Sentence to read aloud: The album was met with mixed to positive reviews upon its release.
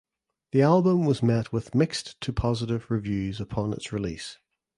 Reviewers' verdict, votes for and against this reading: accepted, 2, 0